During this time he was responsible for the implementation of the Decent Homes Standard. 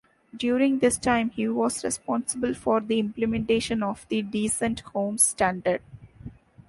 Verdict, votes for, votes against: accepted, 2, 0